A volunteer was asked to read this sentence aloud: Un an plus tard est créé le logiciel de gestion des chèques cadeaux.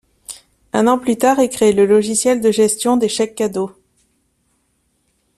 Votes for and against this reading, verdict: 2, 0, accepted